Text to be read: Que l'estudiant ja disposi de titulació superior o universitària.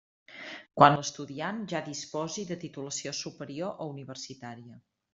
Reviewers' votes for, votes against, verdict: 0, 2, rejected